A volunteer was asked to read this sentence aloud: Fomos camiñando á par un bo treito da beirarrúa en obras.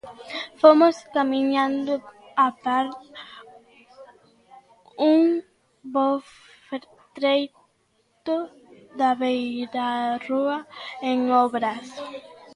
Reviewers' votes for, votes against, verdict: 0, 2, rejected